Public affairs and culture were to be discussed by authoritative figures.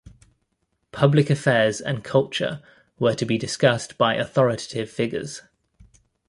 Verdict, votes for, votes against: accepted, 2, 0